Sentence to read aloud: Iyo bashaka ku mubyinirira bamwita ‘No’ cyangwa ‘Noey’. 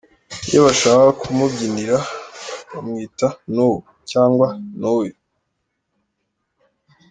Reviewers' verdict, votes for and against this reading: accepted, 2, 0